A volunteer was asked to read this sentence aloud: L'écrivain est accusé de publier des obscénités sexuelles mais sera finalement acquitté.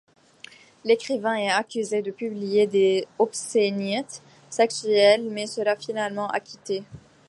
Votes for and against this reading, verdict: 1, 2, rejected